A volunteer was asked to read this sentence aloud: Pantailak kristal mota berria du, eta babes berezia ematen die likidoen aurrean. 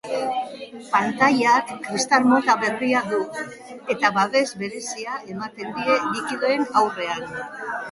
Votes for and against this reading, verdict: 0, 2, rejected